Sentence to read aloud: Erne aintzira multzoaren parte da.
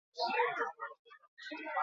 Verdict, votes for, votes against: rejected, 0, 4